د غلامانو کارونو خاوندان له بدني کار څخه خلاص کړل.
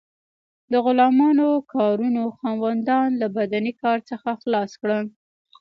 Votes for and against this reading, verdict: 2, 0, accepted